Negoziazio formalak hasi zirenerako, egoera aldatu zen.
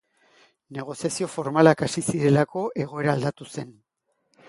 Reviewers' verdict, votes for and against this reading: rejected, 1, 2